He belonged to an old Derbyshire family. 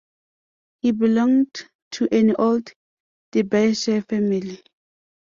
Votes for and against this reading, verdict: 0, 2, rejected